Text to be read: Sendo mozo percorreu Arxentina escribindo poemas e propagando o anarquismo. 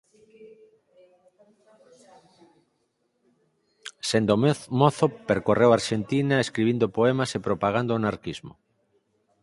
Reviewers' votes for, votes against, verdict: 0, 4, rejected